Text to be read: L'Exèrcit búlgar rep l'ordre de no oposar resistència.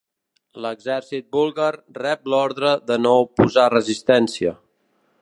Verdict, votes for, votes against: accepted, 2, 0